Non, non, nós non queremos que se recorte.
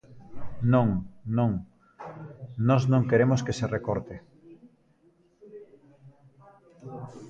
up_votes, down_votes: 1, 2